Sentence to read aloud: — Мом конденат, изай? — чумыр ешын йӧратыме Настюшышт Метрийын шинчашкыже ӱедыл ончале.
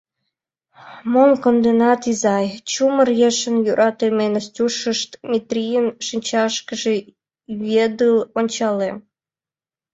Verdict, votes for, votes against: accepted, 2, 1